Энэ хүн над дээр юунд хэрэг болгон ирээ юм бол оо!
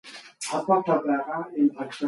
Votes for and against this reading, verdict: 2, 2, rejected